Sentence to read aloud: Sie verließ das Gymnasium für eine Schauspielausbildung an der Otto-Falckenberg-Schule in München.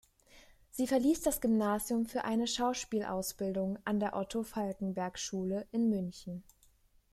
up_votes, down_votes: 2, 0